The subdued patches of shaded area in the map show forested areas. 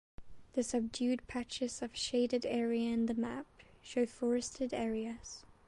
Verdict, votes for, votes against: accepted, 2, 1